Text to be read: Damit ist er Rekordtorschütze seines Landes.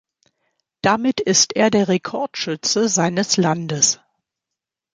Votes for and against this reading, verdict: 1, 2, rejected